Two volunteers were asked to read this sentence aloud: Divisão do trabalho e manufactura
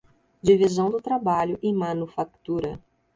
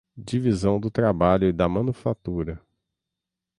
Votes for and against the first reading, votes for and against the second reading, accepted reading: 2, 0, 0, 6, first